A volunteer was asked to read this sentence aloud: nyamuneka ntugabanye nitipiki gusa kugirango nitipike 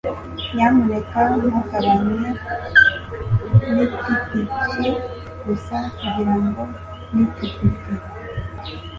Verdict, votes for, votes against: accepted, 2, 0